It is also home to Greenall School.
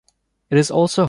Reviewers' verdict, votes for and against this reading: rejected, 0, 2